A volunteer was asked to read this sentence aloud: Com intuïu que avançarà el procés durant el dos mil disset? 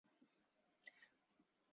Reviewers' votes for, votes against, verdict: 0, 2, rejected